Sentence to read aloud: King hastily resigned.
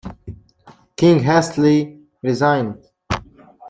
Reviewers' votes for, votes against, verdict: 0, 2, rejected